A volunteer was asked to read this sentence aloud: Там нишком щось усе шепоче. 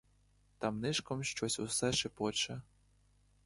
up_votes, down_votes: 2, 0